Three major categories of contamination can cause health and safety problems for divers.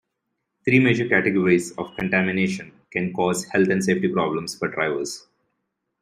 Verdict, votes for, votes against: accepted, 2, 0